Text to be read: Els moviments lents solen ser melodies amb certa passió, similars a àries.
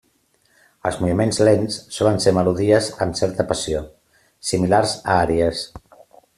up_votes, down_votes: 3, 0